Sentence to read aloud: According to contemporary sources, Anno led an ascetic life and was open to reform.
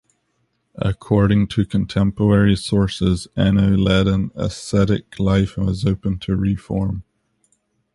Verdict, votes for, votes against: accepted, 2, 0